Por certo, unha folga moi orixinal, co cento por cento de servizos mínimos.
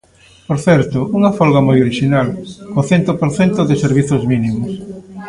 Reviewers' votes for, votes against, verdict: 1, 2, rejected